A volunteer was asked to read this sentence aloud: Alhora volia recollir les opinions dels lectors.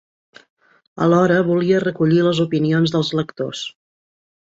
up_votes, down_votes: 3, 0